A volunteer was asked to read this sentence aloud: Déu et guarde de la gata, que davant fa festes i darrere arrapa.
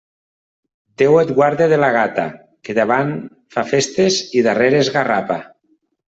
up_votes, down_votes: 0, 2